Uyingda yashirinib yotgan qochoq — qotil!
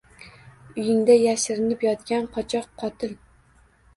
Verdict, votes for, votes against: accepted, 2, 0